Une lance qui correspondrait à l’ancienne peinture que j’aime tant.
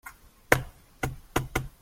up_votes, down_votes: 0, 2